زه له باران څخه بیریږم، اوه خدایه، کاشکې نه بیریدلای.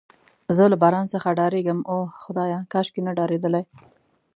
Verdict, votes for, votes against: rejected, 1, 2